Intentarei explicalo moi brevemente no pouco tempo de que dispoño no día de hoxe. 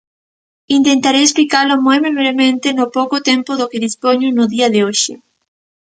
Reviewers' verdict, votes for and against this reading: rejected, 1, 2